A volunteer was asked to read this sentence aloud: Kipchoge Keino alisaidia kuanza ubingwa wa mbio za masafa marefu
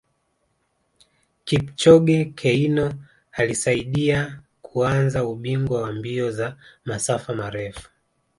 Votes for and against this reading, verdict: 2, 0, accepted